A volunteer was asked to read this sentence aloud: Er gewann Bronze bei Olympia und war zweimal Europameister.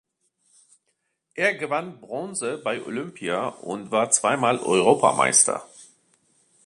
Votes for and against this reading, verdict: 2, 0, accepted